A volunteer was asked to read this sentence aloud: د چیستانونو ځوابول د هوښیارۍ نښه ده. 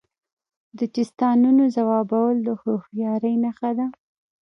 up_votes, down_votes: 2, 0